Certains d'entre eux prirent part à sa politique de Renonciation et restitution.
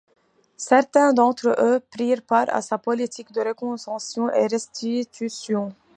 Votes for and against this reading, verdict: 2, 1, accepted